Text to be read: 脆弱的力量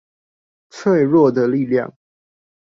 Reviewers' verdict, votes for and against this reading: accepted, 2, 0